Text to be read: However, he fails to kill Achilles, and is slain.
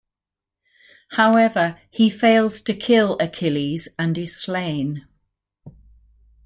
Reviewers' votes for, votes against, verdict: 2, 0, accepted